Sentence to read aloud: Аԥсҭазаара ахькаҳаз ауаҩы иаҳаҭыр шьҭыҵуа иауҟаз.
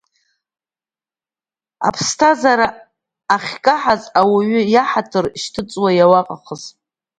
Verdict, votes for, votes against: rejected, 1, 2